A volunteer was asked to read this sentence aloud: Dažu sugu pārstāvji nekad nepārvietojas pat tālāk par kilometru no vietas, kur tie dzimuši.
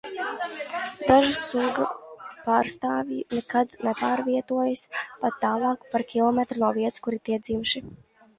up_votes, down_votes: 0, 2